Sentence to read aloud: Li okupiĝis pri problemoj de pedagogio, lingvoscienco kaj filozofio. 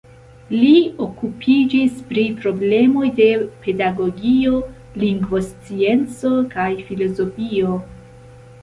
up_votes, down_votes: 2, 0